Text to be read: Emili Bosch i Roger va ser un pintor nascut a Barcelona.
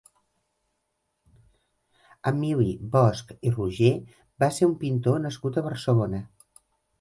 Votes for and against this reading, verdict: 2, 0, accepted